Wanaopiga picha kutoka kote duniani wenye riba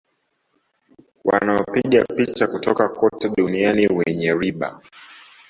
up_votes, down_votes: 1, 2